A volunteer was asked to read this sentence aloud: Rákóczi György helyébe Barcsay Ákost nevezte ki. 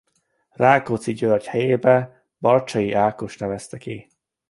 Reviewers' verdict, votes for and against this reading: accepted, 2, 0